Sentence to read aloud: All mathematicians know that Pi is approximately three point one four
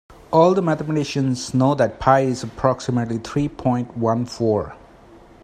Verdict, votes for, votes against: rejected, 0, 2